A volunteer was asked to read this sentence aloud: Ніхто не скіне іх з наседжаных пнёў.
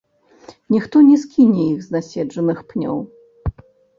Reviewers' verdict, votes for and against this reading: rejected, 0, 2